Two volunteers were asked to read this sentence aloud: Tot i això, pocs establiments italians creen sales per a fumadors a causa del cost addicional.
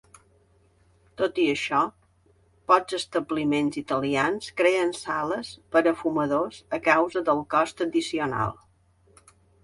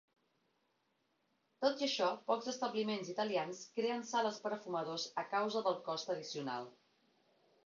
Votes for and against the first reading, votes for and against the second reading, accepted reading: 3, 0, 0, 2, first